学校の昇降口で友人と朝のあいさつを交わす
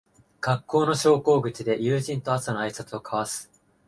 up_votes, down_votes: 3, 0